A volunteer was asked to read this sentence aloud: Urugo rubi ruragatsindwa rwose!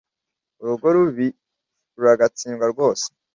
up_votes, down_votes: 2, 0